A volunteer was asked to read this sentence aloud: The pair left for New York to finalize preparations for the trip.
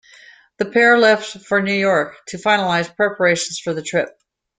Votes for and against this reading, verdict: 2, 0, accepted